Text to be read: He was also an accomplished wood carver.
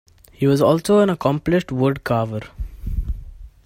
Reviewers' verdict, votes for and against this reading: accepted, 2, 0